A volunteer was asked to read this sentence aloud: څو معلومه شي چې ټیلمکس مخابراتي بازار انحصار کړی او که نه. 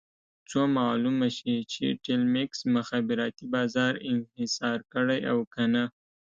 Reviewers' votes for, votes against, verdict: 2, 0, accepted